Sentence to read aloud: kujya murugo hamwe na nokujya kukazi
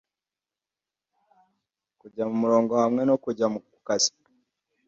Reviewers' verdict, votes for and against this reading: rejected, 1, 2